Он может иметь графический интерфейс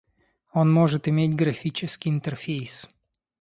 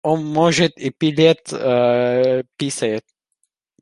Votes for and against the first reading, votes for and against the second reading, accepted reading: 2, 0, 0, 2, first